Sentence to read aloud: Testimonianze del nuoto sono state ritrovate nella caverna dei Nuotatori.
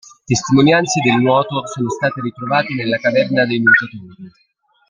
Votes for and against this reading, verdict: 1, 2, rejected